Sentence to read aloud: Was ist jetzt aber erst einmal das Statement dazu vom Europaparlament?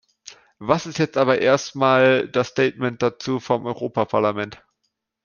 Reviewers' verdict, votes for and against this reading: accepted, 2, 1